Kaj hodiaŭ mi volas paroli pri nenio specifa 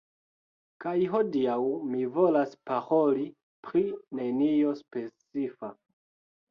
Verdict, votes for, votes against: accepted, 2, 1